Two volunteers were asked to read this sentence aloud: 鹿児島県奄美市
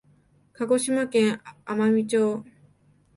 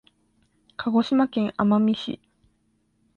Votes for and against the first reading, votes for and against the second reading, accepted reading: 4, 5, 2, 0, second